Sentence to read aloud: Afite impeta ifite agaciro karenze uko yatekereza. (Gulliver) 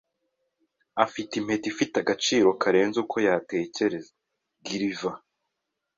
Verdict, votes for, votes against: accepted, 2, 0